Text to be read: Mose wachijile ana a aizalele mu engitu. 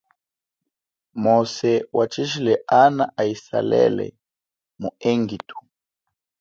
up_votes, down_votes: 2, 0